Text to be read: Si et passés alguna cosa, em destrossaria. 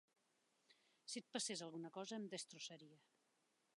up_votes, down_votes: 3, 0